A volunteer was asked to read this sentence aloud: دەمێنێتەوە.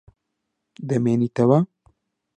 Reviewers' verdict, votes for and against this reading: accepted, 2, 0